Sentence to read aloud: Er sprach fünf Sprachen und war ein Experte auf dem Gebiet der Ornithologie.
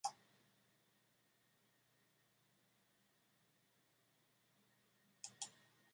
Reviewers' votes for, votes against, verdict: 0, 2, rejected